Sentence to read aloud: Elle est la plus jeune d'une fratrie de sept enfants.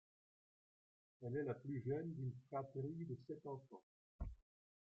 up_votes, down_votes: 2, 1